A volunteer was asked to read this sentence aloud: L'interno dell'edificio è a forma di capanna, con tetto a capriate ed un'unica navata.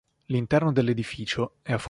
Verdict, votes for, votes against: rejected, 0, 4